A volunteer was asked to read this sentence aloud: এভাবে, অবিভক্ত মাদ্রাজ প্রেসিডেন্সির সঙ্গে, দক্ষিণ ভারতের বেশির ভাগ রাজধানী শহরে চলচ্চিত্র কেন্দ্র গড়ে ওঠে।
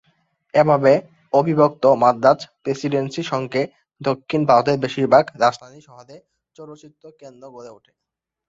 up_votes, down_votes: 2, 0